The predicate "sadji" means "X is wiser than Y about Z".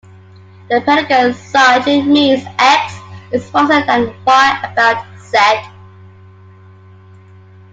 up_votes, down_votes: 0, 2